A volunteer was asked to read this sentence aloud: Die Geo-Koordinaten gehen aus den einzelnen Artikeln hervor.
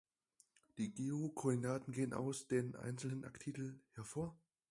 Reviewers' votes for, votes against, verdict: 4, 0, accepted